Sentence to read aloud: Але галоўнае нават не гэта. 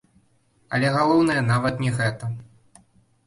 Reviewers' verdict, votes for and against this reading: rejected, 0, 3